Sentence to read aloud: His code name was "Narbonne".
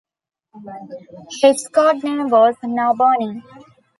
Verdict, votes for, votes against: accepted, 2, 0